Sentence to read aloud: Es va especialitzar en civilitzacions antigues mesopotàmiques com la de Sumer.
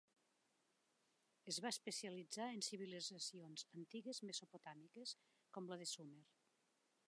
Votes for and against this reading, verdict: 0, 2, rejected